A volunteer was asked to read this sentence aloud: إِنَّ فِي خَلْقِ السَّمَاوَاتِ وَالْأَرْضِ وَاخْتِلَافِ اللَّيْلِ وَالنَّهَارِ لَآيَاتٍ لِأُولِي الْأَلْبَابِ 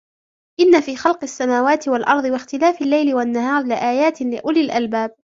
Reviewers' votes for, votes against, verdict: 2, 0, accepted